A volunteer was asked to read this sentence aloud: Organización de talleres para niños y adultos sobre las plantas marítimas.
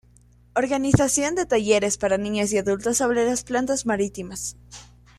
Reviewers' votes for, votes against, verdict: 2, 0, accepted